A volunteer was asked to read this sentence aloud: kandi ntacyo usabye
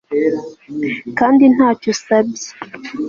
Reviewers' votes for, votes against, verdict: 2, 0, accepted